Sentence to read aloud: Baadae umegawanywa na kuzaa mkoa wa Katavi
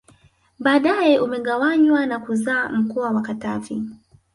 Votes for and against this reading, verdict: 3, 0, accepted